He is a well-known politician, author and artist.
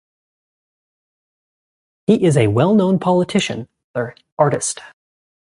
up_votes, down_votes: 1, 2